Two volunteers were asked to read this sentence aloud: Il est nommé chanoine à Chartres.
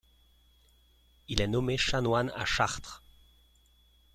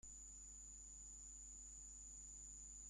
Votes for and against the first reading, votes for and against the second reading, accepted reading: 2, 0, 0, 2, first